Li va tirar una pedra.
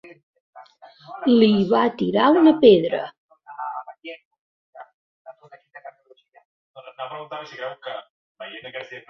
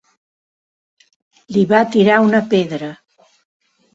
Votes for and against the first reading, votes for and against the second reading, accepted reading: 0, 2, 4, 0, second